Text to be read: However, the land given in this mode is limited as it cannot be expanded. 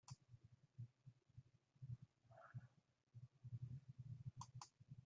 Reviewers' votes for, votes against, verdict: 0, 2, rejected